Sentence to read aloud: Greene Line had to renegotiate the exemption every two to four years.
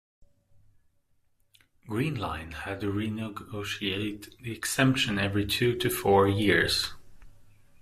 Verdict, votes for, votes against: accepted, 2, 0